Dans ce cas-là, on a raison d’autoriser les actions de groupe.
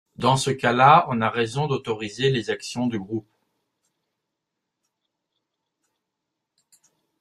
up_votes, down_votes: 1, 2